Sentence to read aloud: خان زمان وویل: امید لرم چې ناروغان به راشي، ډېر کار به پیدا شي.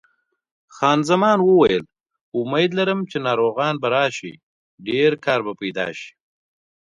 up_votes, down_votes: 2, 0